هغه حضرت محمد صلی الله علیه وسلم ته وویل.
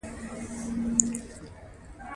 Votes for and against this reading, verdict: 1, 2, rejected